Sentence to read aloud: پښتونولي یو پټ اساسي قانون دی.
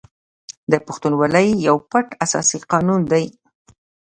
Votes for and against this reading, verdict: 2, 0, accepted